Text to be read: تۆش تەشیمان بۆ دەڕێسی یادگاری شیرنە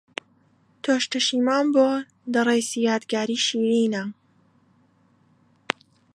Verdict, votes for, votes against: rejected, 1, 2